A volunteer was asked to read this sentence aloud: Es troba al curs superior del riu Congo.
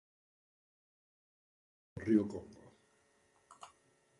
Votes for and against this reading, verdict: 0, 2, rejected